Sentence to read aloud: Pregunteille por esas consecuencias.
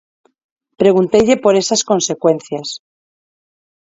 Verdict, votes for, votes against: accepted, 4, 2